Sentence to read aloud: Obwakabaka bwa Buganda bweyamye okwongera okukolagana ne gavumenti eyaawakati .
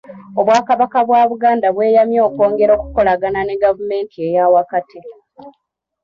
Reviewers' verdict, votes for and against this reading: accepted, 2, 1